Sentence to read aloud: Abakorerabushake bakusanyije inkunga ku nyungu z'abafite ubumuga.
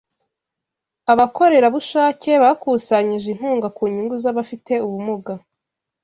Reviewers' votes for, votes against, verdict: 2, 0, accepted